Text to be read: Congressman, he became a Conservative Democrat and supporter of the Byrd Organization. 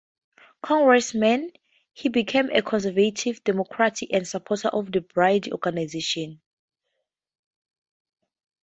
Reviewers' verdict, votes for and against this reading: rejected, 0, 2